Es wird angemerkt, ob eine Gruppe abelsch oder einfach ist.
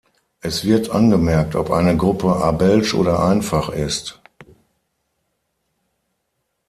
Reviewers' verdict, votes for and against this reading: accepted, 6, 0